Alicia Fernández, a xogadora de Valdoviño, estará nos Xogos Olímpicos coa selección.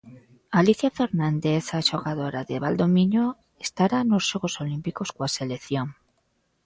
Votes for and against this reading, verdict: 1, 2, rejected